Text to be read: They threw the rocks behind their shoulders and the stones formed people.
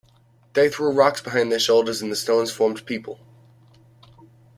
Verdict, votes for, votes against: rejected, 1, 2